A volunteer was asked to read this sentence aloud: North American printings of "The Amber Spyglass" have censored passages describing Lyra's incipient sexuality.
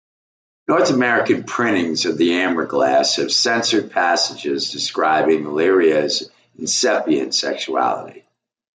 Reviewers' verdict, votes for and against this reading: rejected, 0, 2